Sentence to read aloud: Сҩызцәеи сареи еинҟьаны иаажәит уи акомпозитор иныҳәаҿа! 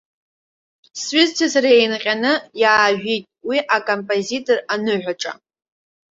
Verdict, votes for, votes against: rejected, 1, 2